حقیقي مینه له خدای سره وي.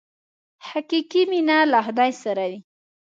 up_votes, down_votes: 2, 0